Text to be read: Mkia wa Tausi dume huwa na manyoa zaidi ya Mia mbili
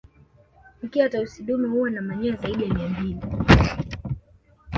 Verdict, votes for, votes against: accepted, 2, 0